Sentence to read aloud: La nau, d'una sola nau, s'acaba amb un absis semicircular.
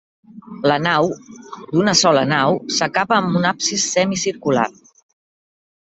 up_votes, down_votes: 3, 1